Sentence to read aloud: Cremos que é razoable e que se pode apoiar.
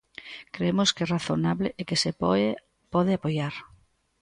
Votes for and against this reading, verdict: 0, 2, rejected